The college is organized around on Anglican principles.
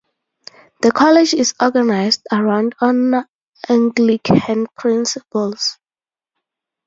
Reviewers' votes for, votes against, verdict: 2, 2, rejected